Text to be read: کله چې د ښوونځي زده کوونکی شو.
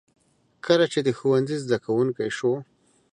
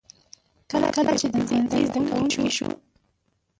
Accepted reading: first